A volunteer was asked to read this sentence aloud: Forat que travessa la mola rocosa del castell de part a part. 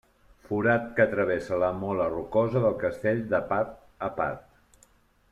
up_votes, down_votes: 2, 0